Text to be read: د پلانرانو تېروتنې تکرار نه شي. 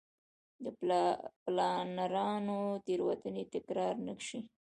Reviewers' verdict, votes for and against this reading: rejected, 1, 2